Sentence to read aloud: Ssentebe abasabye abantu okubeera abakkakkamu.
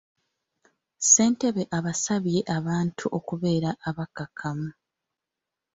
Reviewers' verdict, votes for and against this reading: accepted, 2, 0